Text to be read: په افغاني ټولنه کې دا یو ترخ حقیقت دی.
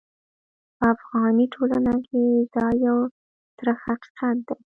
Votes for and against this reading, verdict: 1, 2, rejected